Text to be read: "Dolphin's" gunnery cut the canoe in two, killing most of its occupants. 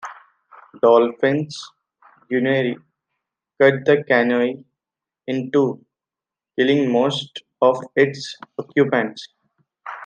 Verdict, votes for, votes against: rejected, 1, 2